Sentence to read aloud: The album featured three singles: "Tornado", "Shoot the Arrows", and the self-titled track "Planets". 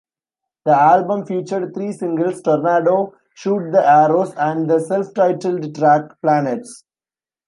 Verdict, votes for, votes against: accepted, 2, 0